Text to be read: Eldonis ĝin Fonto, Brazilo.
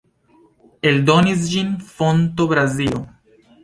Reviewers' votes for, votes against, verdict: 3, 0, accepted